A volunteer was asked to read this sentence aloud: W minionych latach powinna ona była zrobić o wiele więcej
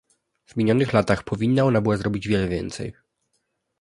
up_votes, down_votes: 2, 0